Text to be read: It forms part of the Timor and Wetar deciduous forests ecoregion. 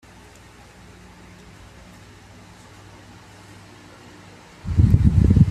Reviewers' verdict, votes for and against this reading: rejected, 0, 2